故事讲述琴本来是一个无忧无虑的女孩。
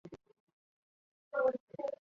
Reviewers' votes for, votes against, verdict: 0, 2, rejected